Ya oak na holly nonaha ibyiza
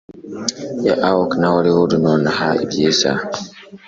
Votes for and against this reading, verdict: 2, 0, accepted